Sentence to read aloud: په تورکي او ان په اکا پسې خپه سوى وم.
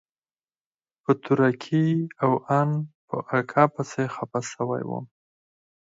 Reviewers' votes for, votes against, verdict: 0, 4, rejected